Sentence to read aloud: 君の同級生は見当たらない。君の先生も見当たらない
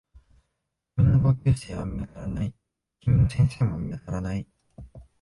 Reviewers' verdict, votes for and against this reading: rejected, 0, 2